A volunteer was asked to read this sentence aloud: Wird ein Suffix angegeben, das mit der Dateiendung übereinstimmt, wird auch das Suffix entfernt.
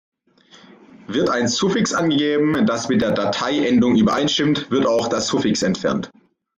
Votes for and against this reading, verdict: 2, 0, accepted